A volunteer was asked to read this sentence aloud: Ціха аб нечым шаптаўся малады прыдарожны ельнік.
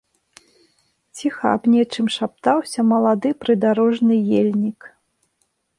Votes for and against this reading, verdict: 2, 0, accepted